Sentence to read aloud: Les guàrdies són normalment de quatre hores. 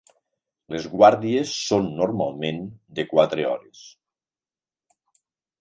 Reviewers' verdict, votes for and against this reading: accepted, 4, 0